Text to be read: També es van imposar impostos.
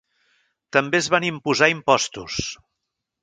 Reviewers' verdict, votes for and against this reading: accepted, 4, 0